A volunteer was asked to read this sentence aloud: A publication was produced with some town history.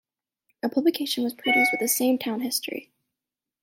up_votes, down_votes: 2, 1